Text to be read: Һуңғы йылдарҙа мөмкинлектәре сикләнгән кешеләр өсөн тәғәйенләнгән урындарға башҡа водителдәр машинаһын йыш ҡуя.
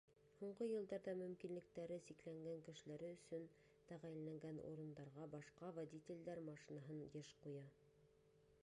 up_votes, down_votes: 1, 2